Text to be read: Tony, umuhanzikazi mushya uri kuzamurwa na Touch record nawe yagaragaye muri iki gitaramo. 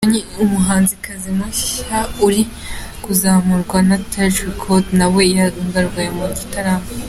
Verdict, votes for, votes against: rejected, 0, 3